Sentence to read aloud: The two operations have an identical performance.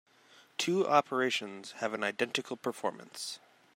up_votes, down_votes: 0, 2